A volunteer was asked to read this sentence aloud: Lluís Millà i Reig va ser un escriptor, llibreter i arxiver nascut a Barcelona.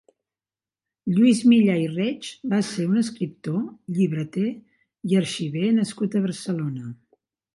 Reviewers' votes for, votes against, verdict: 1, 2, rejected